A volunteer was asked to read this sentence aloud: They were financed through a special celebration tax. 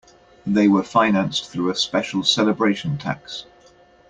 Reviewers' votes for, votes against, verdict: 2, 0, accepted